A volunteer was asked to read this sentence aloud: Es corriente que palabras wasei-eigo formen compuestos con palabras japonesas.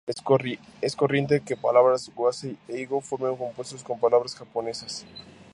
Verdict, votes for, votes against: rejected, 0, 2